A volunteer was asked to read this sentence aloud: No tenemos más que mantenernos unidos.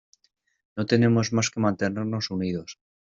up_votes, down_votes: 2, 0